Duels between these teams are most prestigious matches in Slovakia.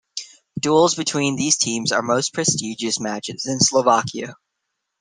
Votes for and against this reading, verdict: 0, 2, rejected